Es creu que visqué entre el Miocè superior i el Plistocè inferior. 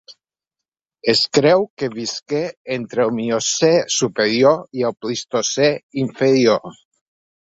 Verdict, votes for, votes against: accepted, 2, 0